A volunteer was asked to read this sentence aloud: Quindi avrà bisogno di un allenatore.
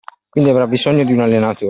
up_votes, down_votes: 0, 2